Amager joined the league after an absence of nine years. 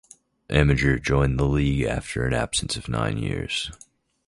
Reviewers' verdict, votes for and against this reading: accepted, 2, 0